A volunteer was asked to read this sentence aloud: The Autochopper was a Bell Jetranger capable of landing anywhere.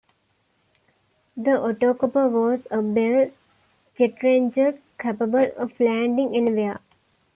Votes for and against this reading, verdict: 1, 2, rejected